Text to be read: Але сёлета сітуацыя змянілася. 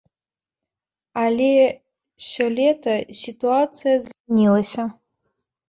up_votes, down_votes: 0, 2